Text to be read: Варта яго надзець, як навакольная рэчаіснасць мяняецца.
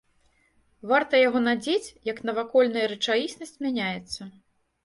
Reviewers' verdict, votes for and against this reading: accepted, 2, 0